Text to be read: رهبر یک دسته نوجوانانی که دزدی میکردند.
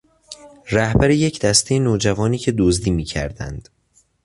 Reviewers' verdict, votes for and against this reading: rejected, 1, 2